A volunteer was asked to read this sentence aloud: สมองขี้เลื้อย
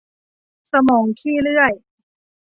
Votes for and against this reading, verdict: 3, 1, accepted